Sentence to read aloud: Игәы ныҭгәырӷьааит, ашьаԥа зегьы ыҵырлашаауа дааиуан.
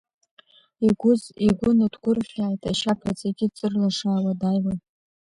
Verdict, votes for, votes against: accepted, 2, 1